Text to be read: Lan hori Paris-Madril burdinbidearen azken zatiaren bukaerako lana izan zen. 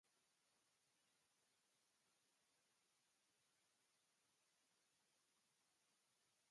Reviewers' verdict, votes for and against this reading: rejected, 1, 3